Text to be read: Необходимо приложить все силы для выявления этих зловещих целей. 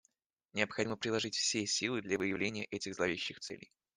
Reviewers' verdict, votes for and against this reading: accepted, 2, 0